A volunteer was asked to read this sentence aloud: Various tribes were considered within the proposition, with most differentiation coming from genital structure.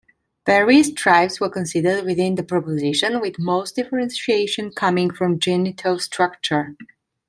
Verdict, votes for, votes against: accepted, 2, 1